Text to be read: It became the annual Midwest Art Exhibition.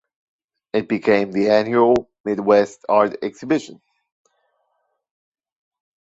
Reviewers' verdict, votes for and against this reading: rejected, 1, 2